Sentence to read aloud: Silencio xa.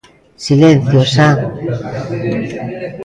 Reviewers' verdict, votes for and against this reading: accepted, 2, 0